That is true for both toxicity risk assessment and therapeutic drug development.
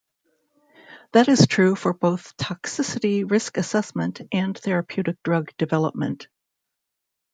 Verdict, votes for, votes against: accepted, 2, 0